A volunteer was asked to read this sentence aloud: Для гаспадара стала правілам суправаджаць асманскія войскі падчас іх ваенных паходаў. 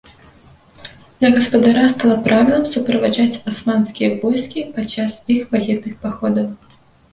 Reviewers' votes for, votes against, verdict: 2, 0, accepted